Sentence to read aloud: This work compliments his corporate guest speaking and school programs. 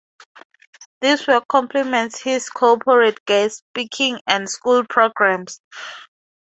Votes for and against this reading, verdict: 4, 0, accepted